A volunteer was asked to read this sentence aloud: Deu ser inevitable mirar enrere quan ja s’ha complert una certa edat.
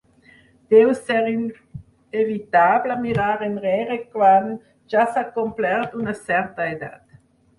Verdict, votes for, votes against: rejected, 0, 4